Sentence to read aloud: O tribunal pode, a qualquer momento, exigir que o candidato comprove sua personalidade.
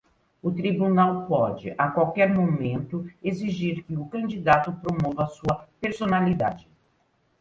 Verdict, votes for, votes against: rejected, 0, 2